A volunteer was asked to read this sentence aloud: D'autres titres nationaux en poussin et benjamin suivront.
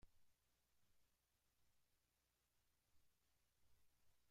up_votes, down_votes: 0, 2